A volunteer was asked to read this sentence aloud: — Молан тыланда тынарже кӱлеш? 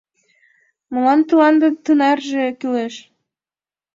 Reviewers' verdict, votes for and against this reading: accepted, 2, 0